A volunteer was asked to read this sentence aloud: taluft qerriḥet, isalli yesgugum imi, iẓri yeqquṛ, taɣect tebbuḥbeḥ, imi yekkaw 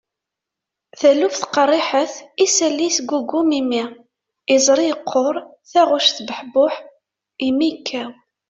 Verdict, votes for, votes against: rejected, 1, 2